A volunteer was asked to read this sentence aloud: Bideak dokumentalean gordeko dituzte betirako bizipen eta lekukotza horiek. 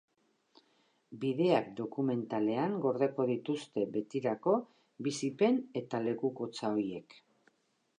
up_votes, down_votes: 0, 2